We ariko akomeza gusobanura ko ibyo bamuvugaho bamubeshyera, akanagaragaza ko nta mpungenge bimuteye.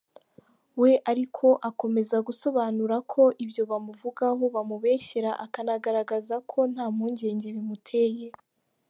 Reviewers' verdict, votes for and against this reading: accepted, 2, 0